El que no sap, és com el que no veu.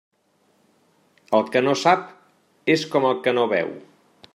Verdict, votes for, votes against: accepted, 3, 0